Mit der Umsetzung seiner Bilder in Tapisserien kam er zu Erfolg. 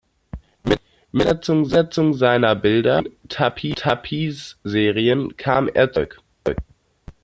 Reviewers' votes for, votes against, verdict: 0, 2, rejected